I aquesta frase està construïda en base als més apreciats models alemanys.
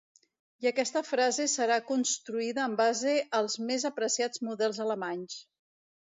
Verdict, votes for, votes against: rejected, 1, 2